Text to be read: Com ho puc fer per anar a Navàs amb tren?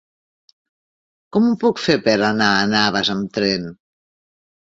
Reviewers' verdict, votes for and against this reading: rejected, 0, 2